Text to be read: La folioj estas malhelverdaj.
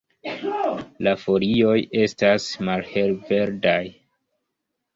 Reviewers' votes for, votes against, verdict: 1, 2, rejected